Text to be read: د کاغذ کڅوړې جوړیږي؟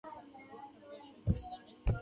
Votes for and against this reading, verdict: 1, 2, rejected